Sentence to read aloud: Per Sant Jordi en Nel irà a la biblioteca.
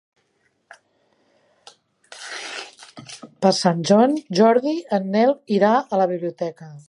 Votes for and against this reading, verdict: 1, 3, rejected